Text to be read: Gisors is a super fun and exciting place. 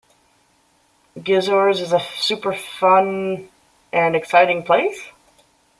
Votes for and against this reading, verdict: 1, 2, rejected